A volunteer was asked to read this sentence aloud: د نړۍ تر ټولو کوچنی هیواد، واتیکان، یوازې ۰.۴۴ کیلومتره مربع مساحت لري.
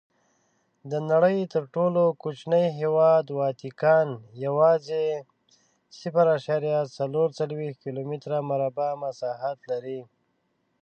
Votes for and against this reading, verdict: 0, 2, rejected